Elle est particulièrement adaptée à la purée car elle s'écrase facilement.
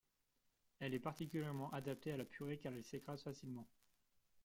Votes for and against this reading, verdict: 2, 0, accepted